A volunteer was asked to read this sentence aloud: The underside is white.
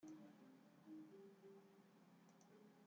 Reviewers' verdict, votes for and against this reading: rejected, 0, 2